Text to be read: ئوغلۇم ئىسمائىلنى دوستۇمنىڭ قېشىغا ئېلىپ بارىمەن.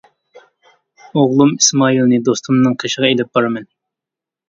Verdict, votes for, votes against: accepted, 2, 0